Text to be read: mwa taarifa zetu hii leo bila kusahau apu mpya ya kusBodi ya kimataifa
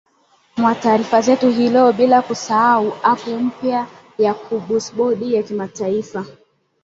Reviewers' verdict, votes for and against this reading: rejected, 1, 2